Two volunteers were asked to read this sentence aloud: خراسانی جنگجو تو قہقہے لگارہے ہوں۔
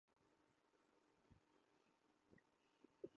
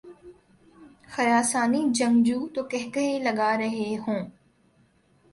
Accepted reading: second